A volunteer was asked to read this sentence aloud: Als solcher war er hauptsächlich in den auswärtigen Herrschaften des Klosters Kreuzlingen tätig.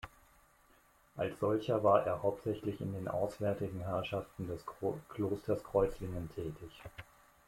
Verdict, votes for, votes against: rejected, 0, 2